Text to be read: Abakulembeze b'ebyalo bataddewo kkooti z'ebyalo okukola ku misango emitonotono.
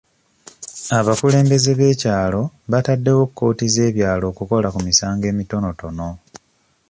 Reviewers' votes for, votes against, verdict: 1, 2, rejected